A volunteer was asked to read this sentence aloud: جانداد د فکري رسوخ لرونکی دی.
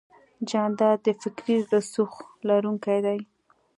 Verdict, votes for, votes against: accepted, 2, 0